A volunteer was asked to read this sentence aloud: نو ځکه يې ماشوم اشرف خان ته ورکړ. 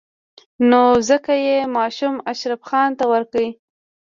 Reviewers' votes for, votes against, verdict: 2, 0, accepted